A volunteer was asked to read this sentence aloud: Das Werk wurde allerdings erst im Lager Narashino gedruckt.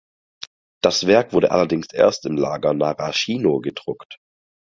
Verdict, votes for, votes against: accepted, 4, 0